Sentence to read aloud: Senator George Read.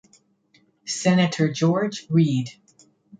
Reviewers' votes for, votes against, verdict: 2, 0, accepted